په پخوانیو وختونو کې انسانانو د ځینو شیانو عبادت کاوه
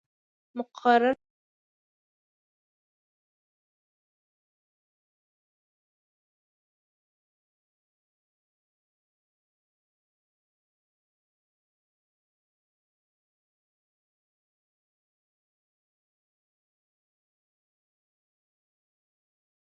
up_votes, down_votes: 0, 2